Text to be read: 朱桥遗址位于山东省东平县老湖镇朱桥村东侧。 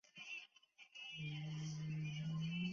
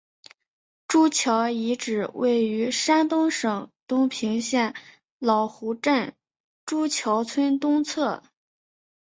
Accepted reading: second